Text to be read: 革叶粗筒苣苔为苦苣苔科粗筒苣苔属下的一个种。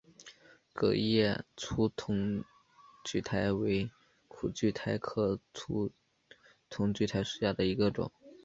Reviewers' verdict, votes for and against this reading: accepted, 3, 0